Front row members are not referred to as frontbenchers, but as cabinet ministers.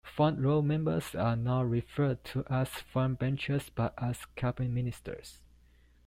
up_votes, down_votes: 2, 0